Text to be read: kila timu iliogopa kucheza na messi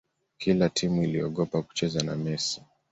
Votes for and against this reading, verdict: 2, 0, accepted